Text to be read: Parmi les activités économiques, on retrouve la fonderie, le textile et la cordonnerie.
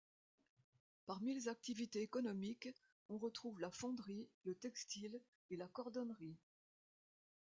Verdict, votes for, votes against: accepted, 2, 0